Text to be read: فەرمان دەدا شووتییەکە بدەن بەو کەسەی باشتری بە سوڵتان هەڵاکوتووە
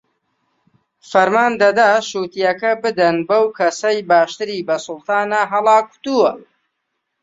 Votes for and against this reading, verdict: 2, 0, accepted